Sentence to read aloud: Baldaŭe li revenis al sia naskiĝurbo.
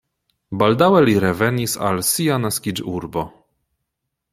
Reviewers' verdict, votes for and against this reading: accepted, 2, 0